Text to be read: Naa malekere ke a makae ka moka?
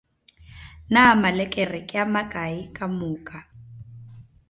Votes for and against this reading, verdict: 1, 2, rejected